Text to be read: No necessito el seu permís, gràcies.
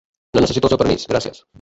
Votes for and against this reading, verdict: 0, 2, rejected